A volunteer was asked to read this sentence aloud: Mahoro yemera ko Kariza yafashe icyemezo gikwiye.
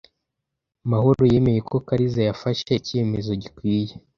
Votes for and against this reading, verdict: 1, 2, rejected